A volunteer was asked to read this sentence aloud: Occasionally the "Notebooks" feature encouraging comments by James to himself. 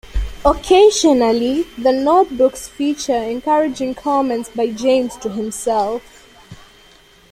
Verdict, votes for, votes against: accepted, 2, 1